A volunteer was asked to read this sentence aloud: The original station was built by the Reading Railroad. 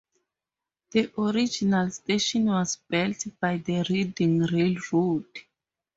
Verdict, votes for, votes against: accepted, 2, 0